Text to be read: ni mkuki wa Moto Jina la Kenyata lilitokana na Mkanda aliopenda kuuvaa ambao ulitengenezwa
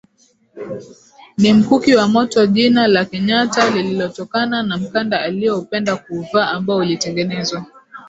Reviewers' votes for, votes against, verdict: 0, 2, rejected